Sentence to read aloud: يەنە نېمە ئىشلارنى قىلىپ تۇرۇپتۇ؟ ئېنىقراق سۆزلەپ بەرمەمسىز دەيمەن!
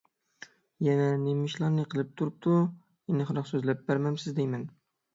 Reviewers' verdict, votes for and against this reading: accepted, 6, 0